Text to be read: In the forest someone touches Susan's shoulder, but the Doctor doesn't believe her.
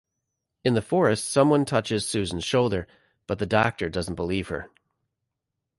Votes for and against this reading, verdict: 2, 0, accepted